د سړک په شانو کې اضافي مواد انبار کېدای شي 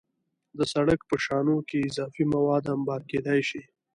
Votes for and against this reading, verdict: 2, 0, accepted